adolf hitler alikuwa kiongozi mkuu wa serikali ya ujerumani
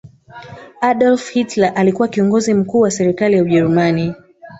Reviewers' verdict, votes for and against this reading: rejected, 1, 2